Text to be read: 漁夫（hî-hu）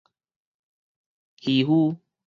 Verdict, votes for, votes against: accepted, 4, 0